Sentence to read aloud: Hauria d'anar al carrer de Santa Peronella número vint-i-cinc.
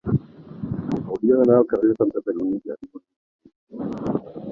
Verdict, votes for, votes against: rejected, 0, 2